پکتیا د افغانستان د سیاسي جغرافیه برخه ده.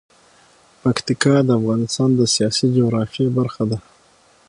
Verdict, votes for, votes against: accepted, 6, 3